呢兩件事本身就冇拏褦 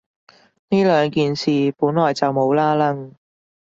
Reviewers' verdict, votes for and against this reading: rejected, 0, 2